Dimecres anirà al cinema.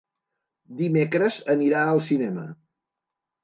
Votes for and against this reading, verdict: 3, 0, accepted